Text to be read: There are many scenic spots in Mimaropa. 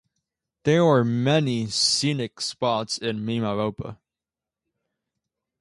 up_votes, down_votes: 2, 0